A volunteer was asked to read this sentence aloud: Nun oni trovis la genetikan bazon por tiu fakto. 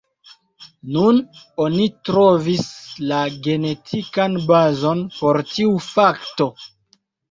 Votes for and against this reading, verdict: 2, 0, accepted